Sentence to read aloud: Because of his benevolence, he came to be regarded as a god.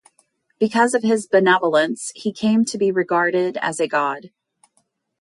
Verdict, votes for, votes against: accepted, 2, 0